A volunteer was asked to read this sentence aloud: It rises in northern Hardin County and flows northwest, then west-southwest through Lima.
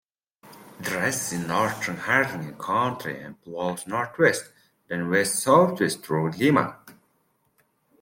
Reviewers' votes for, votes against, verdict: 1, 2, rejected